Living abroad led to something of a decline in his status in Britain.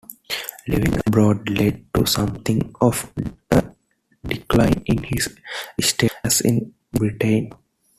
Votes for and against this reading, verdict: 2, 0, accepted